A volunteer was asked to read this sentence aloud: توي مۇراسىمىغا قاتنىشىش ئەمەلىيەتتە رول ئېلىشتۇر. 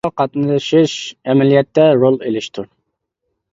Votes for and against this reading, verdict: 0, 2, rejected